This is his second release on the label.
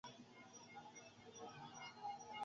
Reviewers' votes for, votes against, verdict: 0, 2, rejected